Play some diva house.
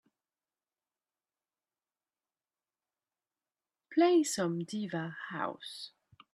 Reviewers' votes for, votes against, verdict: 3, 0, accepted